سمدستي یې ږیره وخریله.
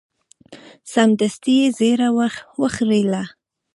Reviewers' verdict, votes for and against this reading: accepted, 2, 0